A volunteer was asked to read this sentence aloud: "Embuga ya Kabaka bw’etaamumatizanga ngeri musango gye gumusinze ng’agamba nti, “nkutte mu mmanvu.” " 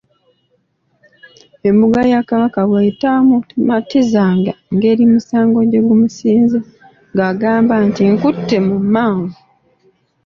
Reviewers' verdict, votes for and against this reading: accepted, 2, 0